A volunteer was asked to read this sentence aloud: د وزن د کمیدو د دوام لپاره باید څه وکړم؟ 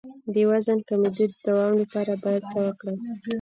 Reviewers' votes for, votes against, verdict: 0, 2, rejected